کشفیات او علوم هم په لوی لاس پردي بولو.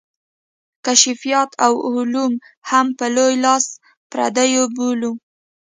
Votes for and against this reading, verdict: 2, 0, accepted